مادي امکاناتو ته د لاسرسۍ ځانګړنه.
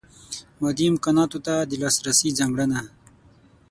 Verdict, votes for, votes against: accepted, 6, 3